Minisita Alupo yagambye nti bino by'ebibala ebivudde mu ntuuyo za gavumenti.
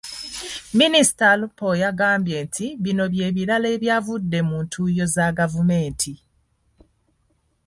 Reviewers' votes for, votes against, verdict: 2, 1, accepted